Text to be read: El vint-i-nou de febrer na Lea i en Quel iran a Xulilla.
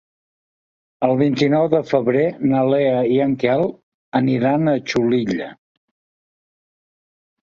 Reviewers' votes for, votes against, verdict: 2, 3, rejected